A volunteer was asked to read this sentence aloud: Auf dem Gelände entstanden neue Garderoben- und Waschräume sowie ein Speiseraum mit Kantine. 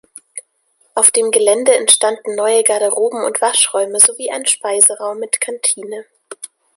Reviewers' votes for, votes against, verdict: 2, 0, accepted